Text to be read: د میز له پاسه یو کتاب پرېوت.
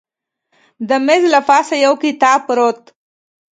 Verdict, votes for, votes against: accepted, 2, 0